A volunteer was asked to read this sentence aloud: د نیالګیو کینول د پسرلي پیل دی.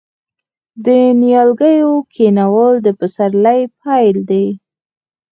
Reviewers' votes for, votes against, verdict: 2, 4, rejected